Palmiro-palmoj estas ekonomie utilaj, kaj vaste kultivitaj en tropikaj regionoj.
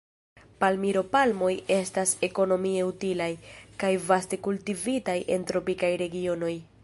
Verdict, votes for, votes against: rejected, 0, 2